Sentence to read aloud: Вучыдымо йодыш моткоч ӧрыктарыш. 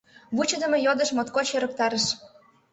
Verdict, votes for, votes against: accepted, 2, 0